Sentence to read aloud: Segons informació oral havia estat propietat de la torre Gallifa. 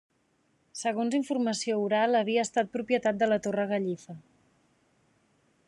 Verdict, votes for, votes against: accepted, 3, 0